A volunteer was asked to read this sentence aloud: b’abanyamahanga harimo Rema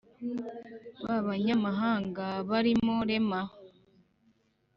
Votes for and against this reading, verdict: 1, 2, rejected